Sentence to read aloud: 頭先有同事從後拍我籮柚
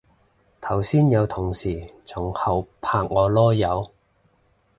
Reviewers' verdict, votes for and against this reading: accepted, 2, 0